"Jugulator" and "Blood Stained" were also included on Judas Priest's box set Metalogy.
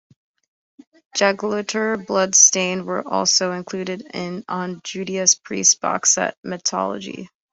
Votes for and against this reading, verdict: 0, 2, rejected